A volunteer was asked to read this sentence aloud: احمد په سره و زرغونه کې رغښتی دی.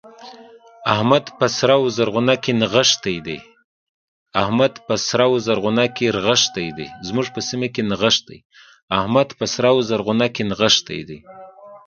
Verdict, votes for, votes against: rejected, 1, 2